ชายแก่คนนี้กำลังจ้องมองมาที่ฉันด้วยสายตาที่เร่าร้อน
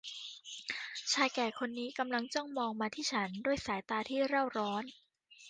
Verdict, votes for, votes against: accepted, 2, 0